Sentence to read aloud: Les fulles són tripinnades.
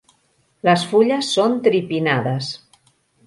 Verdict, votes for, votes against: rejected, 1, 2